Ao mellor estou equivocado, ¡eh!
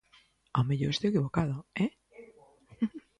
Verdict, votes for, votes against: rejected, 1, 2